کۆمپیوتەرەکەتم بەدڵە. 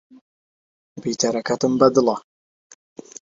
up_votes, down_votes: 1, 2